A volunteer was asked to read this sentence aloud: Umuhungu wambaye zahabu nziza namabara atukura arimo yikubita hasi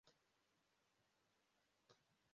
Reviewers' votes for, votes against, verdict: 0, 2, rejected